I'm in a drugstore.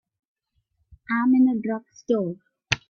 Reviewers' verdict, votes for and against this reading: rejected, 1, 2